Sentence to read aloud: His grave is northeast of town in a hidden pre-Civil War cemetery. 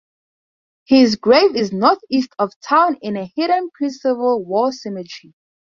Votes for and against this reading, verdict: 4, 0, accepted